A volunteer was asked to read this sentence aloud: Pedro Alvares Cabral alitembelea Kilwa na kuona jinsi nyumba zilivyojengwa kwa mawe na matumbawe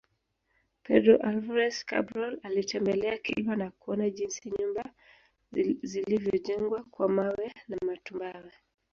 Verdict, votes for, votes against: rejected, 0, 2